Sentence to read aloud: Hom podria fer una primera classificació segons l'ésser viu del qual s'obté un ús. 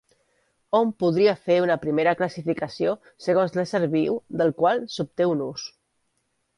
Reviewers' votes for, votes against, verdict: 2, 0, accepted